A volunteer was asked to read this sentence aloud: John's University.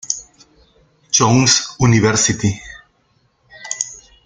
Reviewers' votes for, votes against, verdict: 0, 2, rejected